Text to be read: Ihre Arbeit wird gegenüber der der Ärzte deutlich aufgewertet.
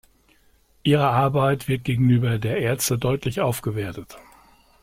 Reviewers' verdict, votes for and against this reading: rejected, 1, 2